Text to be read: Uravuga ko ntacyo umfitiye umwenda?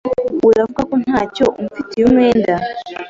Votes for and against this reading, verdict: 2, 0, accepted